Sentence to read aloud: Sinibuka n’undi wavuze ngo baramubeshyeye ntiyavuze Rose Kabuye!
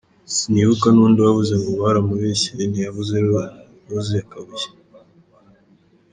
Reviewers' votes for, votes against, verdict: 2, 1, accepted